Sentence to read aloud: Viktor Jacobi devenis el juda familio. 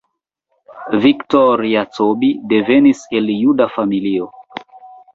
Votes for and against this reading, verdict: 2, 1, accepted